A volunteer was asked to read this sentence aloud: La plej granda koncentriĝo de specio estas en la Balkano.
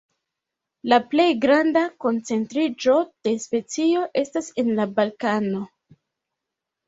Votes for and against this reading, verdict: 3, 2, accepted